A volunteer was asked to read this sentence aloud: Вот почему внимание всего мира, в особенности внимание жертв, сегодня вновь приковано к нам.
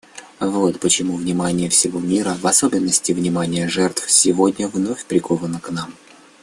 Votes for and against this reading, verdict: 2, 0, accepted